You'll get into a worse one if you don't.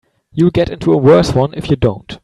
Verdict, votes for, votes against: accepted, 2, 0